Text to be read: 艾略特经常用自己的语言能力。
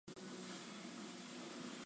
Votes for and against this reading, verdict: 0, 3, rejected